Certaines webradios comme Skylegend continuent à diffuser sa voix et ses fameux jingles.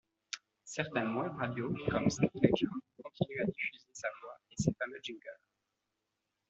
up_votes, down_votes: 0, 2